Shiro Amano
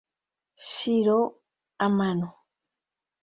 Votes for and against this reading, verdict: 2, 0, accepted